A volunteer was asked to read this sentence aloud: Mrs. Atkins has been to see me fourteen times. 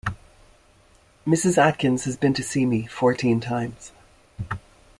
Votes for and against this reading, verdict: 3, 1, accepted